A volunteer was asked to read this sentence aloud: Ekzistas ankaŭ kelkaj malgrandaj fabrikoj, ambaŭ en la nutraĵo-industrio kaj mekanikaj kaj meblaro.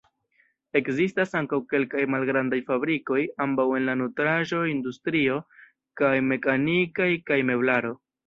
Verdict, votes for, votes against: rejected, 1, 2